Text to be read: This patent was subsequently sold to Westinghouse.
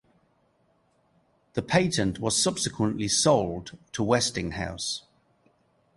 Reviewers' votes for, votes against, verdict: 2, 0, accepted